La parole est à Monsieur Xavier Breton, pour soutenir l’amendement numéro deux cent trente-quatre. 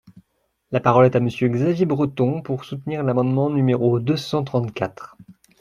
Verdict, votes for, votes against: accepted, 2, 0